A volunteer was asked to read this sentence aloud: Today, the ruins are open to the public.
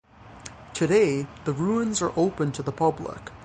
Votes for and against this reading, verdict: 3, 0, accepted